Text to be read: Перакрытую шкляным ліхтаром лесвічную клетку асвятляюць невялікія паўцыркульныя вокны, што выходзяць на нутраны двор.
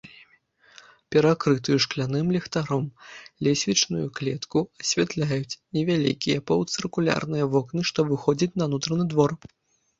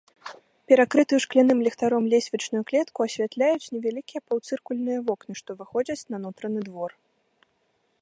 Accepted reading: second